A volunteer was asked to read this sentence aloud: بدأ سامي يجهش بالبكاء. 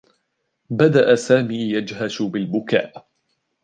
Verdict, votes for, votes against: accepted, 2, 0